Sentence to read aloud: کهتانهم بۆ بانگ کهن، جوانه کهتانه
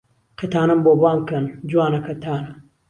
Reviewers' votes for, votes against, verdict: 2, 0, accepted